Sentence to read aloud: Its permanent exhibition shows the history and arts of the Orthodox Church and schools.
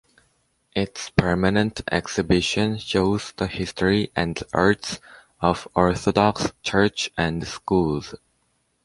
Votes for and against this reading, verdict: 0, 2, rejected